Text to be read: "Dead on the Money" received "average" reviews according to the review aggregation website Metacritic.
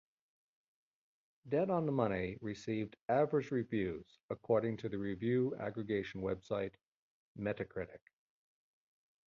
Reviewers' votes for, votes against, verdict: 2, 0, accepted